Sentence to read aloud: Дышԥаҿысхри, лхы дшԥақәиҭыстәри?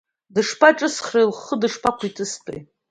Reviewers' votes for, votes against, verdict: 1, 2, rejected